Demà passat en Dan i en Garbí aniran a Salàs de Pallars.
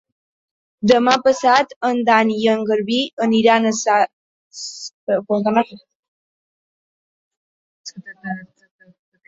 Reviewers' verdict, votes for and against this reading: rejected, 0, 2